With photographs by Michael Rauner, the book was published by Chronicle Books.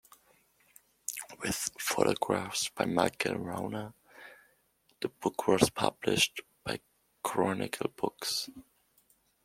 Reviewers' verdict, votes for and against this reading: accepted, 2, 0